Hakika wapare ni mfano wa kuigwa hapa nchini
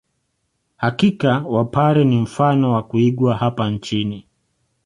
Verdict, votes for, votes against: accepted, 2, 0